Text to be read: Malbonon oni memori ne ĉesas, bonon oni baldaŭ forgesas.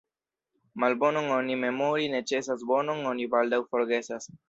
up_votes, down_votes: 1, 2